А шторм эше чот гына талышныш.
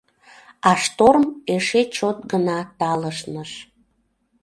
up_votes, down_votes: 2, 0